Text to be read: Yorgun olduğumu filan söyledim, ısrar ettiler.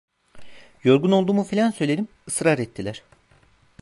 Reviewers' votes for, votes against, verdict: 2, 0, accepted